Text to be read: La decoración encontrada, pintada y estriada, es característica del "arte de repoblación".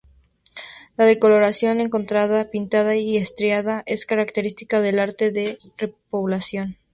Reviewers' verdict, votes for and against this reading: rejected, 2, 4